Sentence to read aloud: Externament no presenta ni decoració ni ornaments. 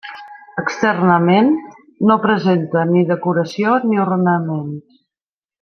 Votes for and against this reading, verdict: 1, 2, rejected